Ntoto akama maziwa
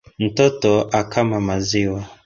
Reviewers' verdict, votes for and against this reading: accepted, 2, 0